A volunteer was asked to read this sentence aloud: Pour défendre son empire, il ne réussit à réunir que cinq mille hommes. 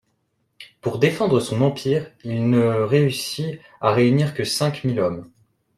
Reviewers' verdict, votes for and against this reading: accepted, 2, 0